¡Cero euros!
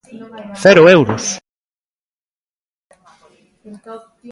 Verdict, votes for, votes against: rejected, 0, 2